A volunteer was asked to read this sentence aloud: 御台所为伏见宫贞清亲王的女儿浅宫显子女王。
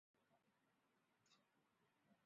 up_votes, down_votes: 0, 5